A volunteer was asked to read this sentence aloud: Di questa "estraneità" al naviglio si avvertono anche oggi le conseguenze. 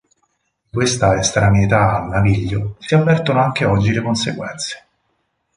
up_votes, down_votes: 2, 2